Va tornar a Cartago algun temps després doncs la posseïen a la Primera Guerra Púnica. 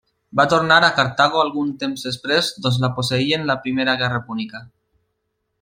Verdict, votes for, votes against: rejected, 1, 2